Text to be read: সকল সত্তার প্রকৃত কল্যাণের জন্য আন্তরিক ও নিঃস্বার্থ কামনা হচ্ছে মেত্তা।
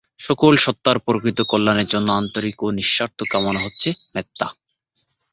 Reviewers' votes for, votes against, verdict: 0, 2, rejected